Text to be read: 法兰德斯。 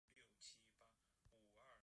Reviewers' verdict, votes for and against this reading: rejected, 1, 3